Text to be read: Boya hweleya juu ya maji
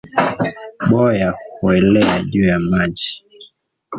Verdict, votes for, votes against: rejected, 1, 2